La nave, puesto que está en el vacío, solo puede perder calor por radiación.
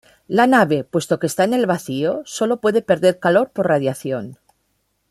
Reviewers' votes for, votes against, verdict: 2, 0, accepted